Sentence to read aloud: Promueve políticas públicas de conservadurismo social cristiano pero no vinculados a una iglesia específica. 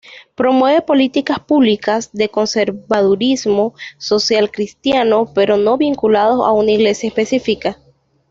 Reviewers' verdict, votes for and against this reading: accepted, 2, 0